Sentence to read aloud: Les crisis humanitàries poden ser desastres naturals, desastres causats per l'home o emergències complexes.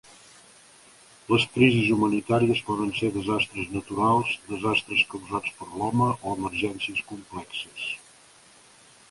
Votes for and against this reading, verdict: 3, 0, accepted